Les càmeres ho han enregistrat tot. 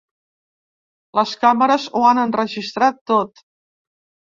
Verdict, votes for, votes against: accepted, 2, 0